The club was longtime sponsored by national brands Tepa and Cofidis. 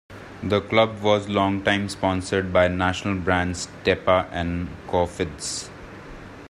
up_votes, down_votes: 2, 0